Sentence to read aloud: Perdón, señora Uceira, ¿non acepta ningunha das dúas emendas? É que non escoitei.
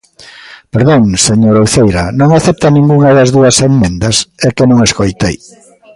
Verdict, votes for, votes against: accepted, 2, 1